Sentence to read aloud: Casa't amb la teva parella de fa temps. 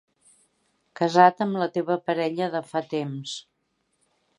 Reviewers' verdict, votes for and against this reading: accepted, 2, 1